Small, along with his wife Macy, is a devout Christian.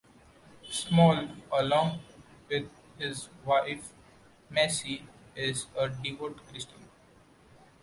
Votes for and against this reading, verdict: 1, 2, rejected